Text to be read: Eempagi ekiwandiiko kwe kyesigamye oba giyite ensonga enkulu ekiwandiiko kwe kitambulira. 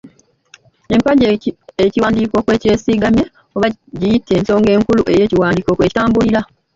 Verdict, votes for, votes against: rejected, 0, 2